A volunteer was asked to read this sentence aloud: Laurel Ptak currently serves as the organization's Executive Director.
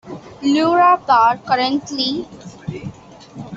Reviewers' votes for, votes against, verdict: 0, 2, rejected